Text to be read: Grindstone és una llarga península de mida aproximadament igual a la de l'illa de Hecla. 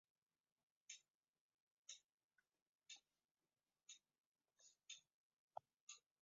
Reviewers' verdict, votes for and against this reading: rejected, 0, 2